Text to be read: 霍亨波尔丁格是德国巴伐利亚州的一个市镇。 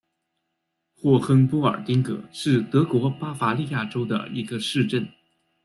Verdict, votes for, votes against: accepted, 2, 0